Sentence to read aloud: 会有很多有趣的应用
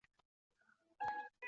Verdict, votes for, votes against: rejected, 0, 2